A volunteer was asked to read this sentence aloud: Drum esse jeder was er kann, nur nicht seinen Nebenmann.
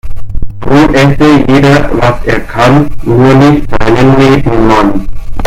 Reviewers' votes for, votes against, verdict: 0, 2, rejected